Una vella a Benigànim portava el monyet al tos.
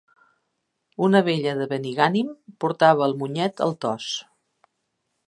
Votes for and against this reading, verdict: 1, 2, rejected